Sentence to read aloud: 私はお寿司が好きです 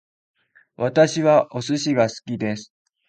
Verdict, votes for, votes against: accepted, 2, 0